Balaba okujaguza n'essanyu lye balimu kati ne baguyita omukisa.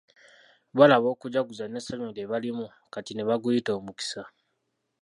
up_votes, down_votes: 1, 2